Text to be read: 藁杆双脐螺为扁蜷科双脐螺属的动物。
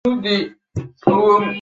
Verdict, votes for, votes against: rejected, 0, 2